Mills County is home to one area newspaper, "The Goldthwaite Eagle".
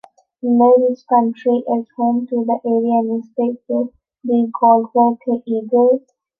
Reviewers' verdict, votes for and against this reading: rejected, 0, 2